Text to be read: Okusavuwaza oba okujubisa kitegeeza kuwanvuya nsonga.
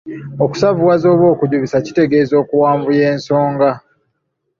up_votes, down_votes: 1, 2